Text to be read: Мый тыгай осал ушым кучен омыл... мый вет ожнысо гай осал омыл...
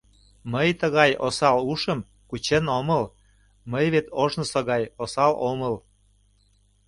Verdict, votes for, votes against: accepted, 2, 0